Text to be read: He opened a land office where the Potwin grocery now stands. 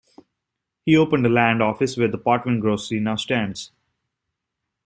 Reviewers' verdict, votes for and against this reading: accepted, 2, 0